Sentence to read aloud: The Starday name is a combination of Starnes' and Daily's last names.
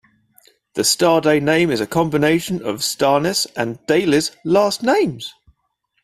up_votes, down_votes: 2, 0